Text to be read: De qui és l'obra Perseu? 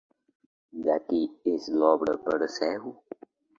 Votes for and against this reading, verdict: 2, 1, accepted